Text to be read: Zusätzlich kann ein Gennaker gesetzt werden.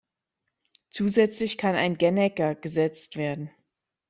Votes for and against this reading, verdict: 1, 2, rejected